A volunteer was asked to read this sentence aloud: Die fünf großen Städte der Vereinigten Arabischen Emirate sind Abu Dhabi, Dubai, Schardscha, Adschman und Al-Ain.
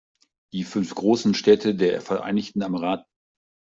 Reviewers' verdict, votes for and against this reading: rejected, 0, 2